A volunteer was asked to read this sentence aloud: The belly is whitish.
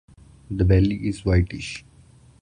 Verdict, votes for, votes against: accepted, 2, 0